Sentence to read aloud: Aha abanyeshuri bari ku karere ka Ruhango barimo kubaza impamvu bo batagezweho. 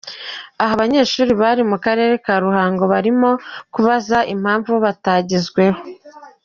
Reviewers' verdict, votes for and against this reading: accepted, 3, 1